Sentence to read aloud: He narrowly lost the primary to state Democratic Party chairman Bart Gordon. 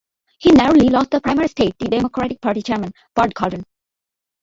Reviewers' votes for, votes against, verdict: 0, 2, rejected